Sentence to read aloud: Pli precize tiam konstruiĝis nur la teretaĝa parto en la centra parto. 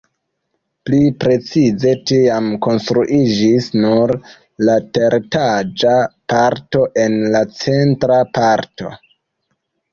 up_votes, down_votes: 1, 2